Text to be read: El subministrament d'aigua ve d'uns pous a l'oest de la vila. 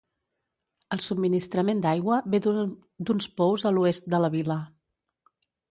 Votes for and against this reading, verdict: 2, 3, rejected